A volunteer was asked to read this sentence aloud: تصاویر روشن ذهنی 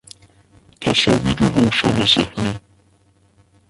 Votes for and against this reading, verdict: 0, 2, rejected